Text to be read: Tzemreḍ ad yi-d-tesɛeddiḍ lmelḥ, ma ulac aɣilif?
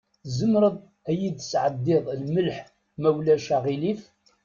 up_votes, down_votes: 2, 0